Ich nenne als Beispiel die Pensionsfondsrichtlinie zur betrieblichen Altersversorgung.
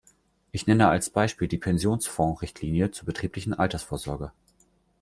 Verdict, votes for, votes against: rejected, 1, 2